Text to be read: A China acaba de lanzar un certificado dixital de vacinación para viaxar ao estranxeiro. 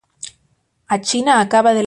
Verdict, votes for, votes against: rejected, 0, 2